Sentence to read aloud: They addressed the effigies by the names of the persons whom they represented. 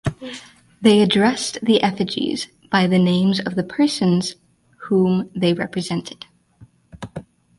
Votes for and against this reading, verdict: 0, 2, rejected